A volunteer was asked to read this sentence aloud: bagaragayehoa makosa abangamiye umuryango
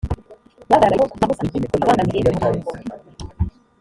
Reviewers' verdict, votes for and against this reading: rejected, 1, 2